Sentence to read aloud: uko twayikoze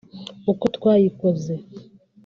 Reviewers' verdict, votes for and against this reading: rejected, 1, 2